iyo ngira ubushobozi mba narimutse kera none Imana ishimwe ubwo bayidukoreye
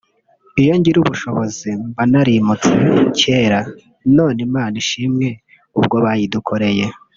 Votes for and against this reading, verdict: 1, 2, rejected